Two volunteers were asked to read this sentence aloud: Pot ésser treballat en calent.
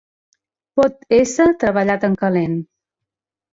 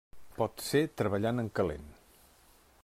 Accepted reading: first